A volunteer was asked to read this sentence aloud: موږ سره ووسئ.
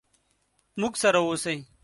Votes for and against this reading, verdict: 2, 0, accepted